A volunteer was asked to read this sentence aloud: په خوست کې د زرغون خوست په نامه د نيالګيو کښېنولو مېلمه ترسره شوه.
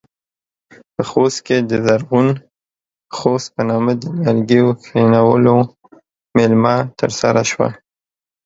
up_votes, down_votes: 2, 0